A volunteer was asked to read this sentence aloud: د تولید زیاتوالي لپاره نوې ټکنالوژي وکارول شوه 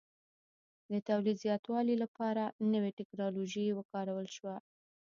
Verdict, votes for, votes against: rejected, 1, 2